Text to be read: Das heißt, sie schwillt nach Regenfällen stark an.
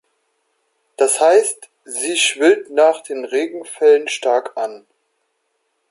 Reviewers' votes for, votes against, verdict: 1, 2, rejected